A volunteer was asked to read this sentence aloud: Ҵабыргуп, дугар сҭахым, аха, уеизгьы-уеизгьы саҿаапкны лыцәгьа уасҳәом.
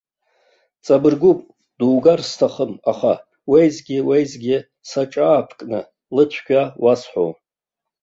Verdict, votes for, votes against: rejected, 0, 2